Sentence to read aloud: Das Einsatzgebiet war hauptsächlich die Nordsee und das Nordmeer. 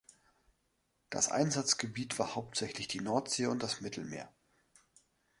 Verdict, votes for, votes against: rejected, 0, 2